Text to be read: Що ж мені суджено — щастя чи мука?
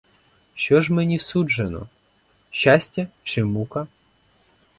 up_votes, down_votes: 4, 0